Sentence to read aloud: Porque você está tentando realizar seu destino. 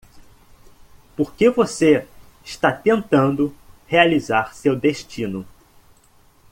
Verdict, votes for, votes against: accepted, 2, 0